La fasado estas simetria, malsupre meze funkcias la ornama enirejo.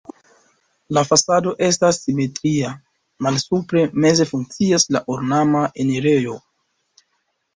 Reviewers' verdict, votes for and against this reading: accepted, 4, 1